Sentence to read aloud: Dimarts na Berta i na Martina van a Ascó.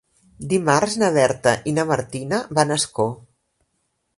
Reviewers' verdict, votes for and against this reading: accepted, 2, 0